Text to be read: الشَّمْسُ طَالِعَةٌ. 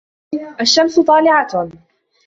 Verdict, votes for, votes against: accepted, 2, 1